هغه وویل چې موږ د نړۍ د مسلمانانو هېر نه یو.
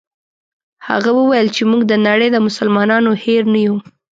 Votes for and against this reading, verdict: 2, 0, accepted